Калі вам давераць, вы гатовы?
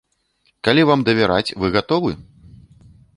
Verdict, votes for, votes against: rejected, 1, 2